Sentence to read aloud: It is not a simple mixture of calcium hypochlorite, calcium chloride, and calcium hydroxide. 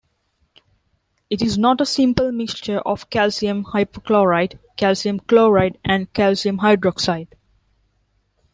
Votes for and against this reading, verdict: 2, 0, accepted